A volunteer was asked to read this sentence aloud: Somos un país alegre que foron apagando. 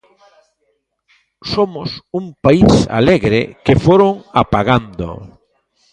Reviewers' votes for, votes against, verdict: 1, 2, rejected